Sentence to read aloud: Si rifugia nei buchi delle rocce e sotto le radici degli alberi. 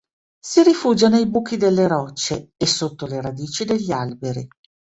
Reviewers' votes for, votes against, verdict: 3, 0, accepted